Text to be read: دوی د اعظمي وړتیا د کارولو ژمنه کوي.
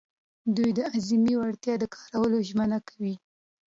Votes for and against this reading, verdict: 2, 0, accepted